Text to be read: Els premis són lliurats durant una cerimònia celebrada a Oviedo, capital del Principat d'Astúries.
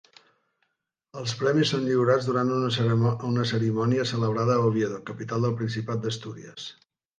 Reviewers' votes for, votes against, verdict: 1, 2, rejected